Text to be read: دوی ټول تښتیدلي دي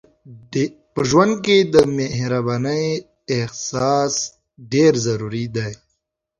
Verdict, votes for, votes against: rejected, 0, 2